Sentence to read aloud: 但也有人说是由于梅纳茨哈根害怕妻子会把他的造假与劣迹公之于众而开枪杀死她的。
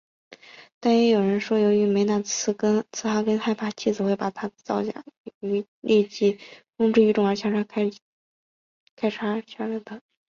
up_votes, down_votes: 1, 3